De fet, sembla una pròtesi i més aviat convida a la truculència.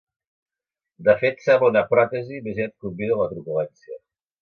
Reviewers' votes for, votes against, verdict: 1, 2, rejected